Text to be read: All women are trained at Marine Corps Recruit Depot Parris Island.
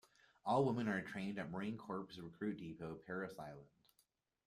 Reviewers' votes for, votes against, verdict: 0, 2, rejected